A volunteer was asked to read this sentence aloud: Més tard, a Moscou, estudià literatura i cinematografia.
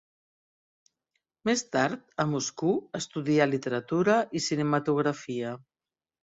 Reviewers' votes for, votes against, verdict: 1, 3, rejected